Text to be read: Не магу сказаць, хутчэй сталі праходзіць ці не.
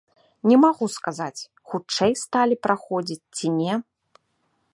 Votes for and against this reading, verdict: 2, 0, accepted